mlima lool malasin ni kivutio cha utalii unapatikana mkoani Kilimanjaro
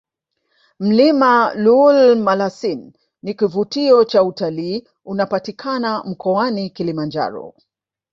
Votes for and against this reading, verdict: 1, 2, rejected